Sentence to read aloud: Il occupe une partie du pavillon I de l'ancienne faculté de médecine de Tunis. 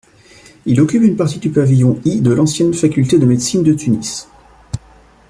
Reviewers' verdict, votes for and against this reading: rejected, 0, 2